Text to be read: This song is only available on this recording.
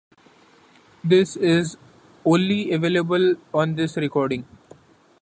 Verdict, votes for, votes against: rejected, 0, 2